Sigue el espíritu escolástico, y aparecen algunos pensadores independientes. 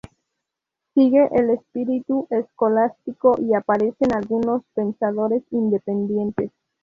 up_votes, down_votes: 0, 2